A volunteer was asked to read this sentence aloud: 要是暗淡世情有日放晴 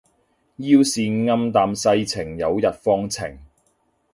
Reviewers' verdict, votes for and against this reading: accepted, 2, 0